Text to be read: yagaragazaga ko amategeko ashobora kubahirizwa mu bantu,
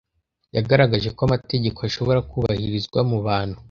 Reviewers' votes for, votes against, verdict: 0, 2, rejected